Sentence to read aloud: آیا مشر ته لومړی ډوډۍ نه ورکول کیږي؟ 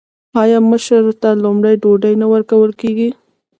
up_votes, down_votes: 2, 0